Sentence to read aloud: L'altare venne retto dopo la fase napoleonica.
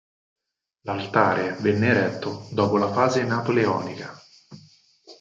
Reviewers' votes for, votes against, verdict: 4, 0, accepted